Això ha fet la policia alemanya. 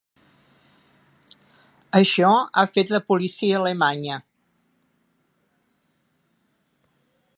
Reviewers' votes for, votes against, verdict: 2, 0, accepted